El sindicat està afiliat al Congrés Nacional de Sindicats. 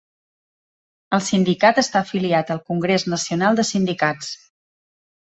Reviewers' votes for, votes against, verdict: 2, 0, accepted